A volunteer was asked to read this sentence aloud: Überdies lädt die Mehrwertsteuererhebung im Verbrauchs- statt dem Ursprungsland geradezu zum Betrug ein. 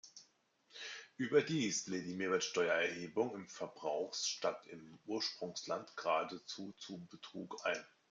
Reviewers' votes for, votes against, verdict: 1, 2, rejected